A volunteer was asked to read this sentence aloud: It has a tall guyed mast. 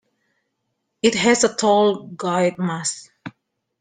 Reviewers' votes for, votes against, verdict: 2, 1, accepted